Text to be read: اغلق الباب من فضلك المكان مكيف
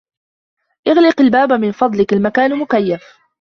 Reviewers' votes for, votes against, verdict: 1, 3, rejected